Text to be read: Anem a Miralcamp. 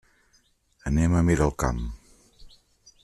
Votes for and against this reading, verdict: 2, 0, accepted